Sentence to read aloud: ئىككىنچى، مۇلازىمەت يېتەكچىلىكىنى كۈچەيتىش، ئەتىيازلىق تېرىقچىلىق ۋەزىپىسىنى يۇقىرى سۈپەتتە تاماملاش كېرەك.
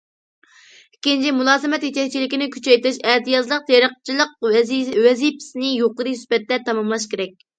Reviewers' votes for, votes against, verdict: 1, 2, rejected